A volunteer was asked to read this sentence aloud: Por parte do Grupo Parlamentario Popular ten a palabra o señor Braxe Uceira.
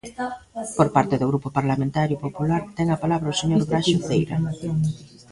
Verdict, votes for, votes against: rejected, 0, 2